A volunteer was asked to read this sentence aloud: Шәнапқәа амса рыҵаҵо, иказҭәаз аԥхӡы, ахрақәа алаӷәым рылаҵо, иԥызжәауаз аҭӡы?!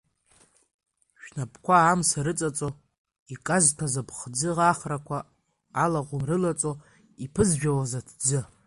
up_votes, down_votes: 2, 1